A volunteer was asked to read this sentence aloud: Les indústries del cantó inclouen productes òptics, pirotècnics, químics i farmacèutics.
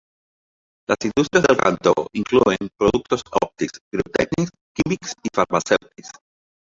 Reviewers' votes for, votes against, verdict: 0, 2, rejected